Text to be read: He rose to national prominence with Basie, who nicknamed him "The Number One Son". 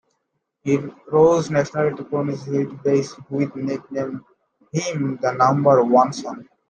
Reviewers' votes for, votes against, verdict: 0, 2, rejected